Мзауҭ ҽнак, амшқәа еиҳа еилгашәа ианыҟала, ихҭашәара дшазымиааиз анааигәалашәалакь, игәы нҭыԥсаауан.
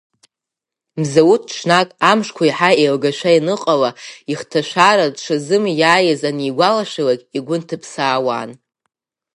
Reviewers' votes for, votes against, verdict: 5, 0, accepted